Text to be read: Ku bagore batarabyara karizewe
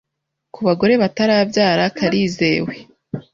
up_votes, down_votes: 2, 0